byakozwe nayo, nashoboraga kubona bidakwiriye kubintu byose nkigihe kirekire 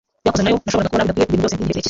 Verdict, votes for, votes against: rejected, 1, 2